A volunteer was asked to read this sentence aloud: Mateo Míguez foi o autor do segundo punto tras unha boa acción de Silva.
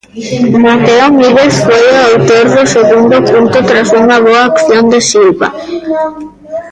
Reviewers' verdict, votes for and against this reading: rejected, 0, 2